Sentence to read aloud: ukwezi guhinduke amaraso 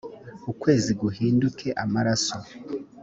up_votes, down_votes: 2, 0